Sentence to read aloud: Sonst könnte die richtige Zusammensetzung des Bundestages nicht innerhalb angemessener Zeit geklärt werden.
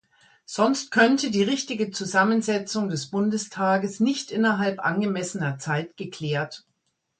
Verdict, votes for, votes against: rejected, 0, 2